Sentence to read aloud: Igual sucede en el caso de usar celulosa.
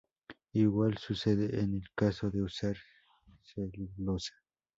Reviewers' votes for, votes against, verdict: 2, 0, accepted